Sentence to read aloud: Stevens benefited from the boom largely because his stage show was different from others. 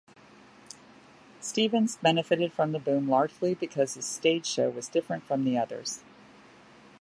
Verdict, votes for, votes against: accepted, 2, 1